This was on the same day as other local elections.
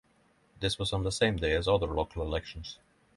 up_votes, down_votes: 3, 0